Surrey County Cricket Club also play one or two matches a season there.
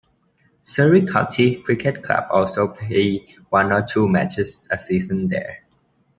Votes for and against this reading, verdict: 0, 2, rejected